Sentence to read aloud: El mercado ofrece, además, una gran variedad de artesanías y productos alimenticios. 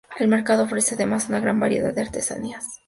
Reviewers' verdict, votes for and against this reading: accepted, 2, 0